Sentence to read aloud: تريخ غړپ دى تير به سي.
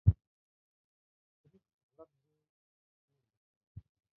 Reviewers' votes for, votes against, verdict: 0, 2, rejected